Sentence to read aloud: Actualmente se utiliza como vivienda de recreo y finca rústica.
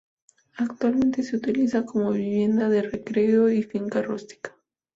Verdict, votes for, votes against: accepted, 2, 0